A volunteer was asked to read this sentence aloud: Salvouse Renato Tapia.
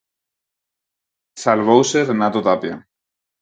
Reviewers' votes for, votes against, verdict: 4, 0, accepted